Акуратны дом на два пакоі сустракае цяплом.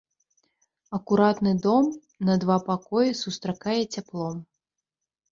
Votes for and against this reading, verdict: 3, 0, accepted